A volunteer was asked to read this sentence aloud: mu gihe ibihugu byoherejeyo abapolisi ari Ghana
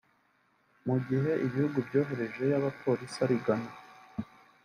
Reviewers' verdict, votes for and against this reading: accepted, 2, 0